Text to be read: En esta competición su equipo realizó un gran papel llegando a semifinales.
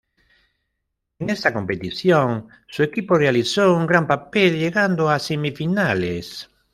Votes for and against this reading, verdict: 0, 2, rejected